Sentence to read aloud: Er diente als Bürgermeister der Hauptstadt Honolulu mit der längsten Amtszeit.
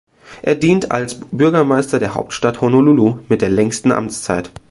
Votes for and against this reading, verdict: 1, 2, rejected